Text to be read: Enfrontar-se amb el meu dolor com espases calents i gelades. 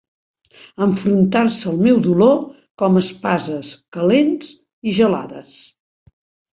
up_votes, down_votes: 2, 0